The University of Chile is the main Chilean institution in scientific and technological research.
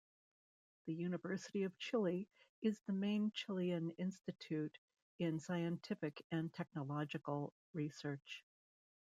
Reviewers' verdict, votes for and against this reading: rejected, 0, 2